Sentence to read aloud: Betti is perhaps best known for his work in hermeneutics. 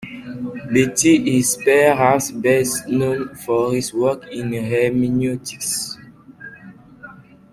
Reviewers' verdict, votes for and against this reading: rejected, 1, 2